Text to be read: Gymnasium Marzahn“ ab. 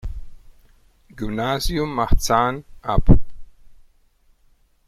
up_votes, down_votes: 2, 0